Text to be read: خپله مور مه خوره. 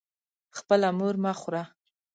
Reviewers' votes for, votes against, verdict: 2, 0, accepted